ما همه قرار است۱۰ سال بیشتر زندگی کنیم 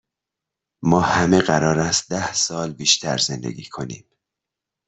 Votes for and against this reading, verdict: 0, 2, rejected